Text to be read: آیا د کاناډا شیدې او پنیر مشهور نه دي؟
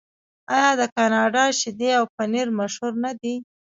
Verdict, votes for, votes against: accepted, 2, 1